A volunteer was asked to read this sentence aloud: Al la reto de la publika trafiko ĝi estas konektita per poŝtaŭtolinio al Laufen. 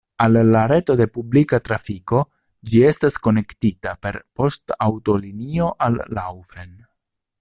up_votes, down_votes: 1, 2